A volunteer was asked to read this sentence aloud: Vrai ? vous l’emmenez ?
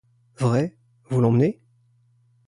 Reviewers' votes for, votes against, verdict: 2, 0, accepted